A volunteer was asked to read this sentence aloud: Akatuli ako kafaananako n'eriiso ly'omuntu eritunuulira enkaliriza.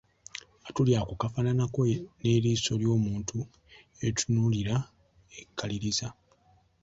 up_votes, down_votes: 0, 2